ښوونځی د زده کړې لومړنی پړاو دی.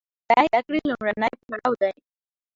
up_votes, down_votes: 1, 2